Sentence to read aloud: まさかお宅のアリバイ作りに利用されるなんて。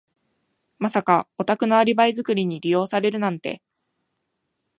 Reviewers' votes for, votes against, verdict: 2, 0, accepted